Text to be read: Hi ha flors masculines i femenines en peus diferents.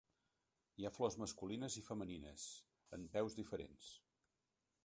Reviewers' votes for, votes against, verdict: 1, 2, rejected